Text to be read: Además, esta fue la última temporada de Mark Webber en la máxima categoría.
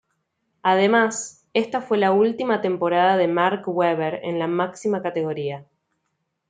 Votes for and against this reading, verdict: 2, 0, accepted